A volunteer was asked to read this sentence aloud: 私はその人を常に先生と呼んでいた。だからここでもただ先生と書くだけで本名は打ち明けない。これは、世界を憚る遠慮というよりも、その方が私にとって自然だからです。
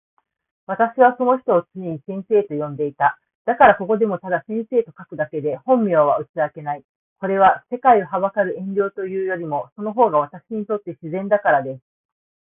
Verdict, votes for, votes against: accepted, 2, 0